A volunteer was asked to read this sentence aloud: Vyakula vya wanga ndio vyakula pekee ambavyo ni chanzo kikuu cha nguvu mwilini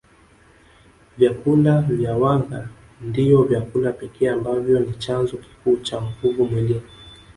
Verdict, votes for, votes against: rejected, 1, 2